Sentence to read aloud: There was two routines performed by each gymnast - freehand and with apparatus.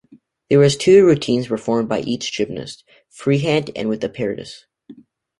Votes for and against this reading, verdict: 0, 2, rejected